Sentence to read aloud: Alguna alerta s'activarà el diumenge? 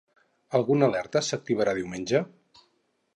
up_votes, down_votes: 0, 4